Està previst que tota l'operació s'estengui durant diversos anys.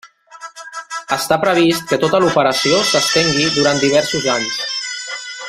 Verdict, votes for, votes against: rejected, 0, 2